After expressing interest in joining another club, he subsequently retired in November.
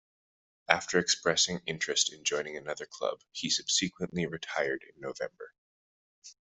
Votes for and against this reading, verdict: 1, 2, rejected